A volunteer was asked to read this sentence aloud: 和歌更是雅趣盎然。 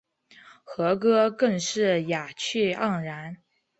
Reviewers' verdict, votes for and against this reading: accepted, 2, 0